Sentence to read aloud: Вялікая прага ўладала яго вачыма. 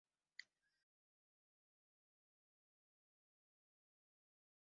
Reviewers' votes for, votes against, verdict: 0, 3, rejected